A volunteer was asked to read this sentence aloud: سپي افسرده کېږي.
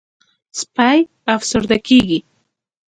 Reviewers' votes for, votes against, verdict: 2, 0, accepted